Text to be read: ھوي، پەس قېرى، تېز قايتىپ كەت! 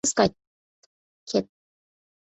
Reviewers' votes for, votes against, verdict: 0, 2, rejected